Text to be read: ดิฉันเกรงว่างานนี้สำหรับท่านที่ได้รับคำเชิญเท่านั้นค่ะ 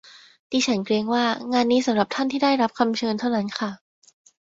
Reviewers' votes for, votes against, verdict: 2, 0, accepted